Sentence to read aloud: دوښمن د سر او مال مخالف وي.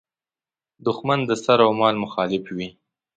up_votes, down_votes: 2, 0